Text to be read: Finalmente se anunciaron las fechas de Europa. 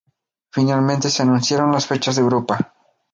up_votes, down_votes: 2, 0